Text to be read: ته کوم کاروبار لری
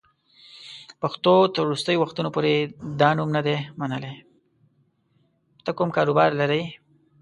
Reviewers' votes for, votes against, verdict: 0, 2, rejected